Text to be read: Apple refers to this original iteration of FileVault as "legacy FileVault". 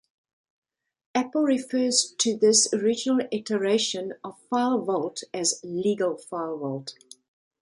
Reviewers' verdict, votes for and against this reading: rejected, 1, 2